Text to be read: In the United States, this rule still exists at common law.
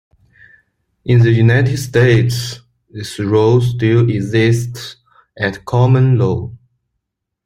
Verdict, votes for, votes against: accepted, 3, 0